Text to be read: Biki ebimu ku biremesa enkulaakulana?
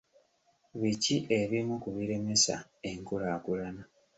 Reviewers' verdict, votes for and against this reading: accepted, 2, 0